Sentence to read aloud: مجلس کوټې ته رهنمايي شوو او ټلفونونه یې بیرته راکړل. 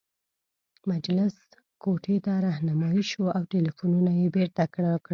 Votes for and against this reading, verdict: 1, 2, rejected